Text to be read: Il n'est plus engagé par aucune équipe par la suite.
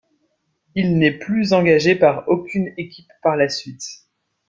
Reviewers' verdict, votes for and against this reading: accepted, 2, 0